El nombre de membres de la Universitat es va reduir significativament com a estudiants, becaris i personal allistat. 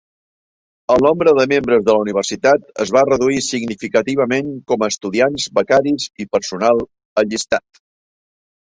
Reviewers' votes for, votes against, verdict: 2, 0, accepted